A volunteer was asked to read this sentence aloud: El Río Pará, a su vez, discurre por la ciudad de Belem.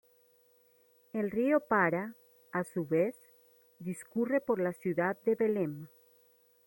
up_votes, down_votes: 1, 2